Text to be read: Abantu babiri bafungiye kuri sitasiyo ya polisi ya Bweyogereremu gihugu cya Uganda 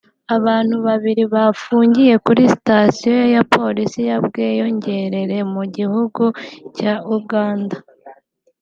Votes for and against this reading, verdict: 1, 2, rejected